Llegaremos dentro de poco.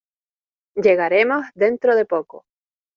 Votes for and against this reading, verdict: 2, 0, accepted